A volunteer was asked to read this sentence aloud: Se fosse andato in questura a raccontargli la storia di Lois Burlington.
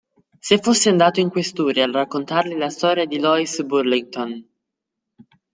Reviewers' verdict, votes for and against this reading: accepted, 2, 0